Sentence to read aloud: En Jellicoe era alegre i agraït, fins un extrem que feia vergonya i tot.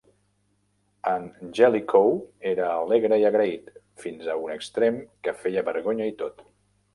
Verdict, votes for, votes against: rejected, 1, 2